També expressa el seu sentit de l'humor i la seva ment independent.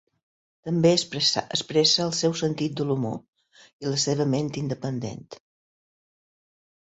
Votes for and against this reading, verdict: 0, 2, rejected